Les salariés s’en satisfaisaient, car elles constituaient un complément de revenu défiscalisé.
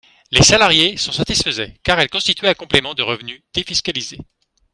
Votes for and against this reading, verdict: 2, 1, accepted